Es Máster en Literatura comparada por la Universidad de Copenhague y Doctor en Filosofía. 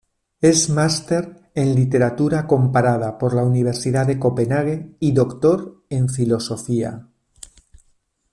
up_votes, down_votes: 2, 0